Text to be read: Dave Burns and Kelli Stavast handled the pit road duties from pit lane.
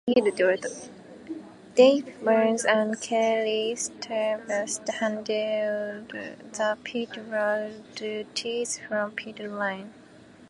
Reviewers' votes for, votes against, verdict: 0, 2, rejected